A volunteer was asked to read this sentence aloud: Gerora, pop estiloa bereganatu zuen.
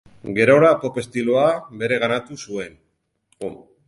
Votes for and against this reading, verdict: 0, 6, rejected